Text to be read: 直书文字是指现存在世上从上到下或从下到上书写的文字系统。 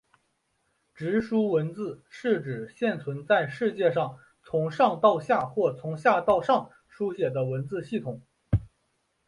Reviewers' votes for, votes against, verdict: 1, 2, rejected